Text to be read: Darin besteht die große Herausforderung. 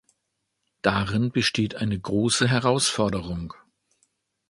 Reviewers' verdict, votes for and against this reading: rejected, 0, 2